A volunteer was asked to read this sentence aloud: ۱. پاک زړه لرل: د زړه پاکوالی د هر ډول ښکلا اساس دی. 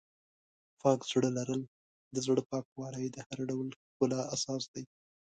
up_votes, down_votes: 0, 2